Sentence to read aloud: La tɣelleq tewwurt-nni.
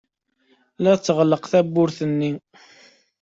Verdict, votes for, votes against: accepted, 2, 0